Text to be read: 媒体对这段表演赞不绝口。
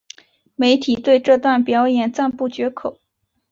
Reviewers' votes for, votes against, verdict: 2, 0, accepted